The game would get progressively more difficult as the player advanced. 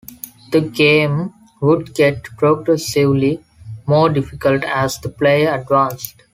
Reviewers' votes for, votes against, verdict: 0, 2, rejected